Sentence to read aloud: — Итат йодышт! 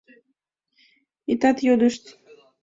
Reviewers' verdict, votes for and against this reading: accepted, 2, 1